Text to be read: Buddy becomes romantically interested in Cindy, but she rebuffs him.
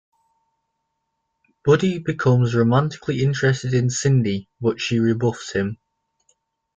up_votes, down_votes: 1, 2